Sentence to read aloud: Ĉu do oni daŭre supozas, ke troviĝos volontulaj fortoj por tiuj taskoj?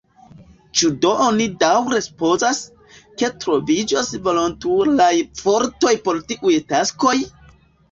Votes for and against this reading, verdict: 1, 2, rejected